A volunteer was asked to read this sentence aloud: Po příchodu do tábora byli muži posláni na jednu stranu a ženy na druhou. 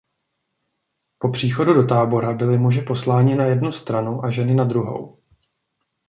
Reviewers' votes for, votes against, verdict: 2, 0, accepted